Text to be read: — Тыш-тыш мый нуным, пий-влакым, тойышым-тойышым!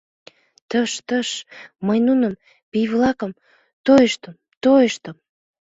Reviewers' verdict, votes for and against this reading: rejected, 1, 2